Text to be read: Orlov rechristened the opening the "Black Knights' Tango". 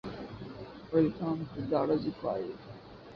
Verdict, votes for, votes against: rejected, 0, 2